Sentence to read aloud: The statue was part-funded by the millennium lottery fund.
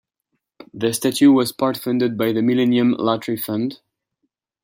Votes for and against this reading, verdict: 2, 0, accepted